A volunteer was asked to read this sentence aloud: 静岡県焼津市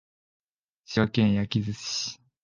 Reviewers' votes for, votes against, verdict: 2, 3, rejected